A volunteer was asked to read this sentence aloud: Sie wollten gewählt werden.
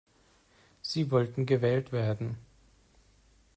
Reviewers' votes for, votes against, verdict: 2, 0, accepted